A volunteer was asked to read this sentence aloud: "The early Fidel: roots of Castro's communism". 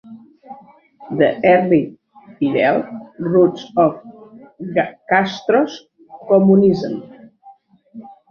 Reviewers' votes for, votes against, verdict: 0, 2, rejected